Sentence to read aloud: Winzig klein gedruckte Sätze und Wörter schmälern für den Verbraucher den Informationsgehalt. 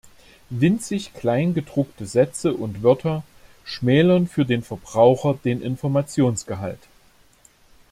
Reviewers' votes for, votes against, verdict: 2, 0, accepted